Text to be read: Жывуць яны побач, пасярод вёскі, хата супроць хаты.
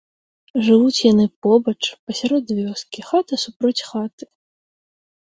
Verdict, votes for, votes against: accepted, 2, 0